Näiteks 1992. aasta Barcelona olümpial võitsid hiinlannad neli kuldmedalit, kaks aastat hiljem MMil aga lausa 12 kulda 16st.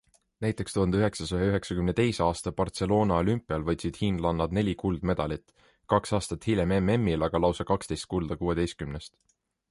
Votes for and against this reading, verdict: 0, 2, rejected